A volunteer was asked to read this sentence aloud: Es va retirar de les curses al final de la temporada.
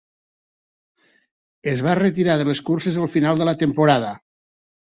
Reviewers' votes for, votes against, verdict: 3, 0, accepted